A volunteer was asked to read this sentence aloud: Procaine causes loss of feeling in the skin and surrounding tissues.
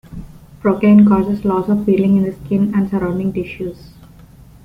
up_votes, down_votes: 2, 0